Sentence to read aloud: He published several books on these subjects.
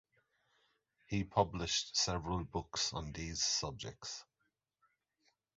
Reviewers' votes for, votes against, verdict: 2, 0, accepted